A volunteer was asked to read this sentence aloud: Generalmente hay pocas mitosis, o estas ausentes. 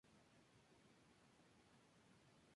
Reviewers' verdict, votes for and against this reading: rejected, 0, 2